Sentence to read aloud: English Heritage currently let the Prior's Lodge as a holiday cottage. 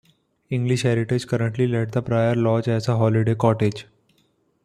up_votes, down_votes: 2, 0